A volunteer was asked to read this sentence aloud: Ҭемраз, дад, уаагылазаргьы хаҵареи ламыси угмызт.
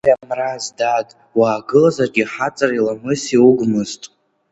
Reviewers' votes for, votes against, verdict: 2, 0, accepted